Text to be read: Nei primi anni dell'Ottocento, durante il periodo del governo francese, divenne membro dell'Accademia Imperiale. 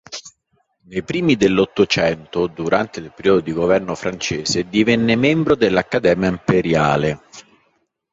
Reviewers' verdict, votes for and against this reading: rejected, 1, 2